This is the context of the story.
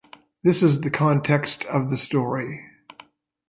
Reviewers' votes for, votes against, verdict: 2, 0, accepted